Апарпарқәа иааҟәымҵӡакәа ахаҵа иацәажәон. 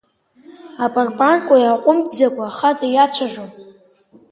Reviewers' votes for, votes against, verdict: 11, 3, accepted